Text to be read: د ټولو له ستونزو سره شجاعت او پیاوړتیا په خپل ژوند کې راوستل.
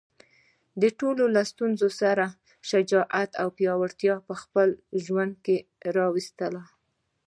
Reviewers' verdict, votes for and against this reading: accepted, 2, 0